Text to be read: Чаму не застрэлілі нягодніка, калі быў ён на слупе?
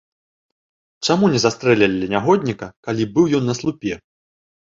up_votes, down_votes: 3, 0